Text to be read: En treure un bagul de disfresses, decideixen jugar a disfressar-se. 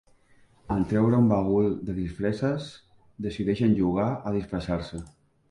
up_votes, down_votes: 2, 0